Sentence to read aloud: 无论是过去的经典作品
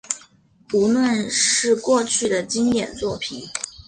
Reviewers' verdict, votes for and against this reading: accepted, 2, 0